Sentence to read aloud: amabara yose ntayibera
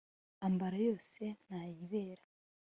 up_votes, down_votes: 0, 2